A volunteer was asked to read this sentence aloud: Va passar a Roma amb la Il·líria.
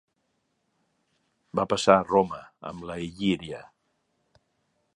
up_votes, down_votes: 2, 1